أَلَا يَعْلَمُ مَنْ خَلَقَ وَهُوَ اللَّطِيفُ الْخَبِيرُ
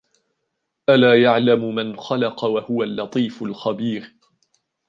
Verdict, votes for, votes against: rejected, 1, 2